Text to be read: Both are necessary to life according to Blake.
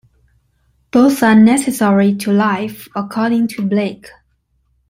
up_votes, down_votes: 2, 0